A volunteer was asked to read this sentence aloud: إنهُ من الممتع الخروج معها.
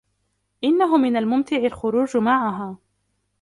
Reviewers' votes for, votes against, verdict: 2, 0, accepted